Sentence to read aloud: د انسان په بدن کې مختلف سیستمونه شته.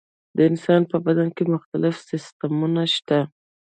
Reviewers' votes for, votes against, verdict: 1, 2, rejected